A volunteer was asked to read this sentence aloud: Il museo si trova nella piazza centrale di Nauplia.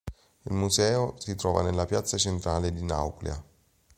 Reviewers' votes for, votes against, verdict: 3, 0, accepted